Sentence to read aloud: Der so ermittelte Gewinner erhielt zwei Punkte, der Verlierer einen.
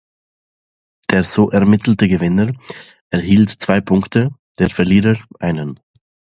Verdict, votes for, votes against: accepted, 2, 0